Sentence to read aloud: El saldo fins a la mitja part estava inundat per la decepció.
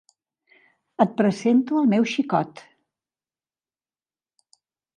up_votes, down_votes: 0, 2